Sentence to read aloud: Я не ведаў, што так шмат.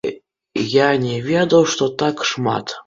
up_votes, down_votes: 2, 0